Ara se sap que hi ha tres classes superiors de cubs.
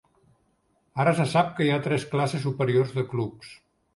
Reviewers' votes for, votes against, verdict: 2, 1, accepted